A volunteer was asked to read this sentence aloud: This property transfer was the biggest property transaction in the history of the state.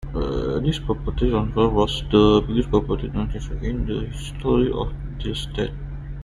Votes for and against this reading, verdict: 0, 2, rejected